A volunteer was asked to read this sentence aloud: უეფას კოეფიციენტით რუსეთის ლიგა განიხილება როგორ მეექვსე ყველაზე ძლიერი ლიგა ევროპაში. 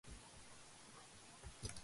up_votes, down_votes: 1, 2